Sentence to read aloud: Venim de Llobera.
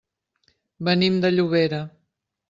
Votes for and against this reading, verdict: 3, 0, accepted